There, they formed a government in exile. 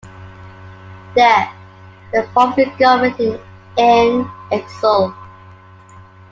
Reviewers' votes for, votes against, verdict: 0, 2, rejected